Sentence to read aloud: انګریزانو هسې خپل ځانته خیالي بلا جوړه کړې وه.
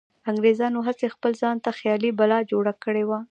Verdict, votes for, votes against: rejected, 1, 2